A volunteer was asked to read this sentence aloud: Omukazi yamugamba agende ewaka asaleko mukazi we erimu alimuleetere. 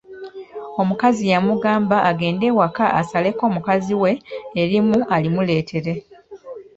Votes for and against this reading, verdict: 2, 0, accepted